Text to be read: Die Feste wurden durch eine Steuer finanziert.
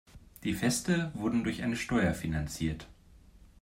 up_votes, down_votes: 2, 0